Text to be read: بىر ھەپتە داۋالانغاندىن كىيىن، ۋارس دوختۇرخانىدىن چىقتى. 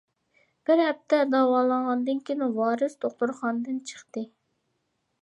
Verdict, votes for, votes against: accepted, 2, 1